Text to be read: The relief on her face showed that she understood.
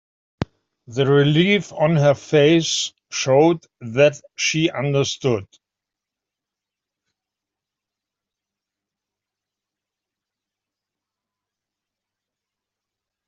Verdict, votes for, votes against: accepted, 2, 1